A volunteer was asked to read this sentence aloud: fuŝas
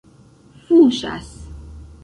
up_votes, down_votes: 1, 2